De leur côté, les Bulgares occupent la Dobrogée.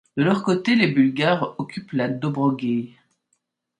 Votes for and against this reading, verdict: 1, 2, rejected